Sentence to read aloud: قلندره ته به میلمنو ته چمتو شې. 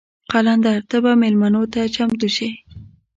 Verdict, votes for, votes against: rejected, 1, 2